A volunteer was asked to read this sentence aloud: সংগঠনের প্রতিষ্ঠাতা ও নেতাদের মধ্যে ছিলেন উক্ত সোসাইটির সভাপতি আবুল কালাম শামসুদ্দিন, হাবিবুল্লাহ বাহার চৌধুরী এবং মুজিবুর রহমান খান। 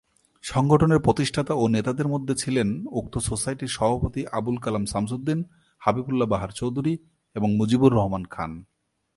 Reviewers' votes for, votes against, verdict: 2, 0, accepted